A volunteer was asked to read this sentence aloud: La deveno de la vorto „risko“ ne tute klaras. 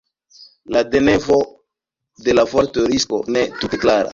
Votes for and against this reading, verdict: 1, 2, rejected